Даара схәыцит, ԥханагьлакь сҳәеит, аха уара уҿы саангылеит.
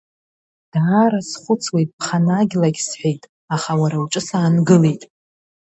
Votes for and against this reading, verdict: 0, 2, rejected